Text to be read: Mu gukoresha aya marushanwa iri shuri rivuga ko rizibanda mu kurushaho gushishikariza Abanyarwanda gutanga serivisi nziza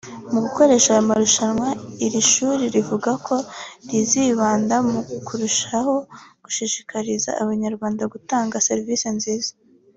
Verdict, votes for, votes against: accepted, 2, 0